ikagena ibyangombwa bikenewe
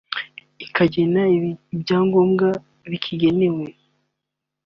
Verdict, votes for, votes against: rejected, 1, 3